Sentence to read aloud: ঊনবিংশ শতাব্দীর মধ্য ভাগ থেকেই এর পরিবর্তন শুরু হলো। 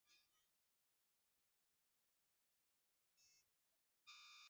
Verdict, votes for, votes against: rejected, 0, 2